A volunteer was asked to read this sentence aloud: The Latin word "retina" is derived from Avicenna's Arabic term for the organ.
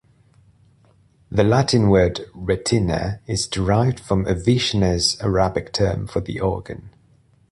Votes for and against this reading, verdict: 2, 0, accepted